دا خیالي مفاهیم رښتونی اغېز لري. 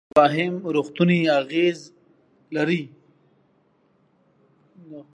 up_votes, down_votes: 0, 2